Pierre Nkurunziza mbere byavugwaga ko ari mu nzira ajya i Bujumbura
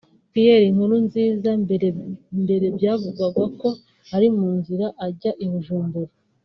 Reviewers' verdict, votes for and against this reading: rejected, 1, 2